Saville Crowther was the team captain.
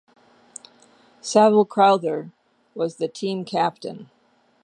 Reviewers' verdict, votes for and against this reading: accepted, 2, 0